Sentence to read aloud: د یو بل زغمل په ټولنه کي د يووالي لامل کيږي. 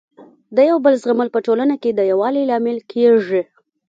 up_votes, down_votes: 1, 2